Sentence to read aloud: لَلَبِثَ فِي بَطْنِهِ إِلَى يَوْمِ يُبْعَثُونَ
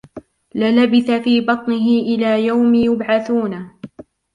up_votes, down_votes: 2, 0